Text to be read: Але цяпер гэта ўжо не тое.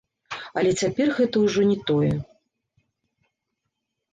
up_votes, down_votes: 1, 2